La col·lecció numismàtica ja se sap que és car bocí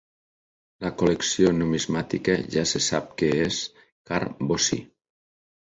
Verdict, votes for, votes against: accepted, 2, 0